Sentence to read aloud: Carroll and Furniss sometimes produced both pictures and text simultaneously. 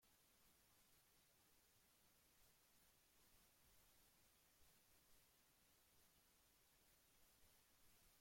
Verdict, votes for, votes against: rejected, 0, 2